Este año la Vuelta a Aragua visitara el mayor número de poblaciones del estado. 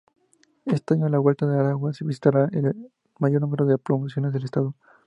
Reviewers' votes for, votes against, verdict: 2, 0, accepted